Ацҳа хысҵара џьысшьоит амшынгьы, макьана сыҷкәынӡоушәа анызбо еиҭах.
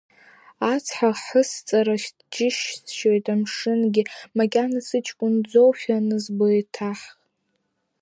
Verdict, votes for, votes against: rejected, 1, 2